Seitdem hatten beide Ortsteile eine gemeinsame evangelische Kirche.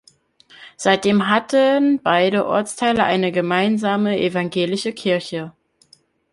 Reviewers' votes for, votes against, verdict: 0, 2, rejected